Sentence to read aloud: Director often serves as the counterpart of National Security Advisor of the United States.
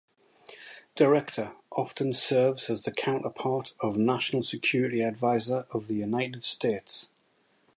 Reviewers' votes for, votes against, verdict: 2, 1, accepted